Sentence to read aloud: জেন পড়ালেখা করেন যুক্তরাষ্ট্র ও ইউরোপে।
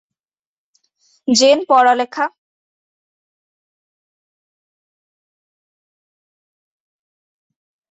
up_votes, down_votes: 0, 2